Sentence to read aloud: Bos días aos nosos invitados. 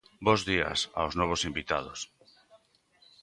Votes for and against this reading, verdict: 0, 3, rejected